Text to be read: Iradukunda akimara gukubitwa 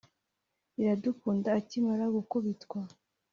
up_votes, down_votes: 2, 0